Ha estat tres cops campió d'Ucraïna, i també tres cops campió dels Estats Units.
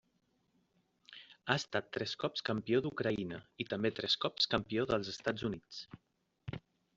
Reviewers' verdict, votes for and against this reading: accepted, 3, 0